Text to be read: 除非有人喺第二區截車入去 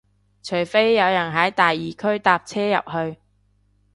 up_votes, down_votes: 0, 2